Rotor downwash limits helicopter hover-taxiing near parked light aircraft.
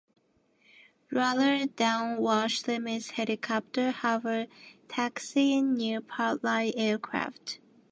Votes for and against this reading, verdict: 1, 2, rejected